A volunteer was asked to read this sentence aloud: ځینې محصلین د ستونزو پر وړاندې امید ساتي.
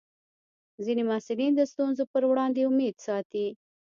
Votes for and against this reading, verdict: 0, 2, rejected